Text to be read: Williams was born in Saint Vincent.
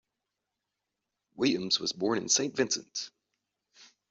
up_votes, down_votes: 2, 0